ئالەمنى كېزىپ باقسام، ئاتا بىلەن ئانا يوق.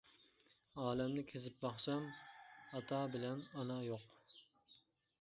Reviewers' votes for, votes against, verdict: 1, 2, rejected